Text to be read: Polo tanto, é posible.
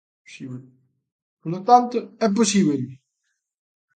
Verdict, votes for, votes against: rejected, 1, 2